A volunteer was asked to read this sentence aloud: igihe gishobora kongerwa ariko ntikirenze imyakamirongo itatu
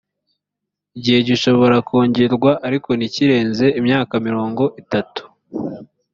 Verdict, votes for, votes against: accepted, 2, 0